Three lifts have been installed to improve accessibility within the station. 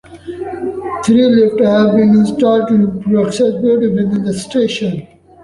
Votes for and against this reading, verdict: 0, 2, rejected